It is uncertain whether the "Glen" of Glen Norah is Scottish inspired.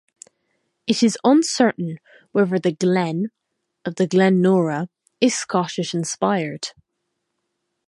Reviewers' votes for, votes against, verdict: 2, 2, rejected